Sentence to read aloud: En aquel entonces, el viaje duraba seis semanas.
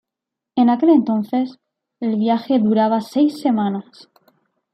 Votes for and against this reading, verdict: 2, 0, accepted